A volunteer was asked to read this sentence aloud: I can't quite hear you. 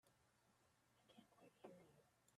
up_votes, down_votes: 0, 2